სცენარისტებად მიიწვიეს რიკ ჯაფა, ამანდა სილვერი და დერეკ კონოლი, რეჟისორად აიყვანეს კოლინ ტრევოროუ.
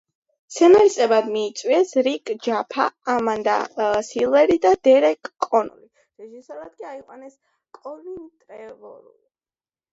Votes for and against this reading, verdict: 1, 2, rejected